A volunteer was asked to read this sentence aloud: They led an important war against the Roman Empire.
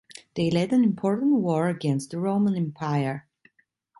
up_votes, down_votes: 2, 0